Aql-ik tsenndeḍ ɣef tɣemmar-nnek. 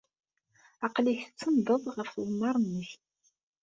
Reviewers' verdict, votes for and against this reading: accepted, 2, 0